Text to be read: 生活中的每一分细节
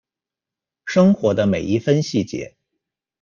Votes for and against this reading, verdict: 0, 2, rejected